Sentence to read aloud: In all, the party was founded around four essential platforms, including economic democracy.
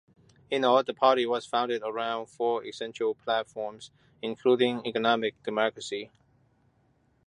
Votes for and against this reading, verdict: 2, 0, accepted